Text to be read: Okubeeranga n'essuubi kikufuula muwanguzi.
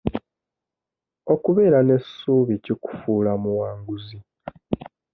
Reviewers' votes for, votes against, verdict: 1, 2, rejected